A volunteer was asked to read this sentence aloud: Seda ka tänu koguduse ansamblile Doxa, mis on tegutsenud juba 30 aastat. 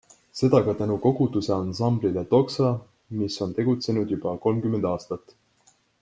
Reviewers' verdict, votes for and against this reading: rejected, 0, 2